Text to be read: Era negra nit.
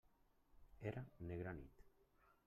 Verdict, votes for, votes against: rejected, 1, 2